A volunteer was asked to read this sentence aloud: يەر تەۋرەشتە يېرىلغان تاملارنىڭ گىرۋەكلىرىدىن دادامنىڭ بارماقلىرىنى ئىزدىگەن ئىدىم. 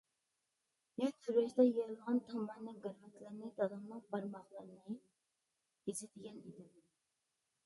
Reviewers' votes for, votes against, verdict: 0, 2, rejected